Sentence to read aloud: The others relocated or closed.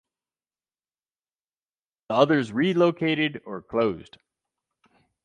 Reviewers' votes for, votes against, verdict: 0, 4, rejected